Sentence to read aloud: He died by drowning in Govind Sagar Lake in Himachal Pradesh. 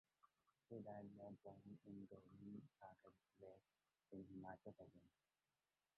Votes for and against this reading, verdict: 0, 2, rejected